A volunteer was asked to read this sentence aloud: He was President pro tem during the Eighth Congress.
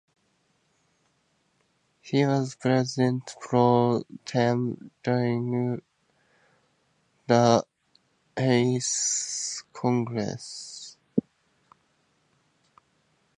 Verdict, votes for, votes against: rejected, 2, 2